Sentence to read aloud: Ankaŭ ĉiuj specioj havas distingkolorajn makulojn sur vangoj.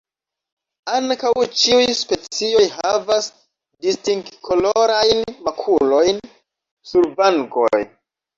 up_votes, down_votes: 2, 1